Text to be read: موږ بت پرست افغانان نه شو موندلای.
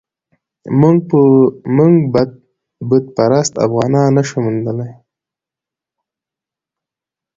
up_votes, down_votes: 2, 1